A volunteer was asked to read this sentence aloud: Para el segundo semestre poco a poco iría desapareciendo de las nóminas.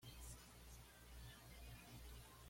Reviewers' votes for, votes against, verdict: 1, 2, rejected